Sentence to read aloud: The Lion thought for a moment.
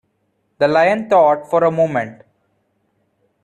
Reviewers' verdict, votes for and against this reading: accepted, 2, 0